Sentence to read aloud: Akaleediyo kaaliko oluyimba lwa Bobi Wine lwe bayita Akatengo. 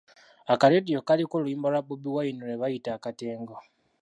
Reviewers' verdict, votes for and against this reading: accepted, 3, 0